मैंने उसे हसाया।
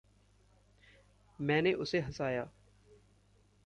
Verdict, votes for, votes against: accepted, 2, 0